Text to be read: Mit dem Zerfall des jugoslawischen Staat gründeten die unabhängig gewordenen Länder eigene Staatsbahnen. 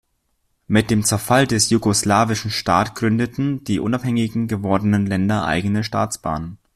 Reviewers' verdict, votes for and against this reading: rejected, 1, 2